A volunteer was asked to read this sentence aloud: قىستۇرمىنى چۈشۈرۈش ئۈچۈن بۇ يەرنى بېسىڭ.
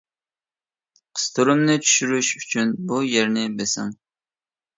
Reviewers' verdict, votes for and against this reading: rejected, 1, 2